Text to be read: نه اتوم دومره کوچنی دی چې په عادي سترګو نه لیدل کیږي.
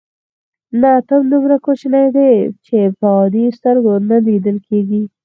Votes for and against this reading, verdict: 2, 4, rejected